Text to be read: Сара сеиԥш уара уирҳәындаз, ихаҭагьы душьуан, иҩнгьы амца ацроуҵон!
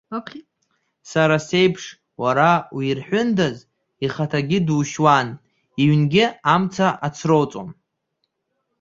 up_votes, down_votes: 1, 2